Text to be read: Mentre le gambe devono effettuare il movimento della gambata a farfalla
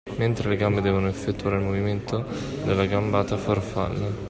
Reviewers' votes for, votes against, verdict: 0, 2, rejected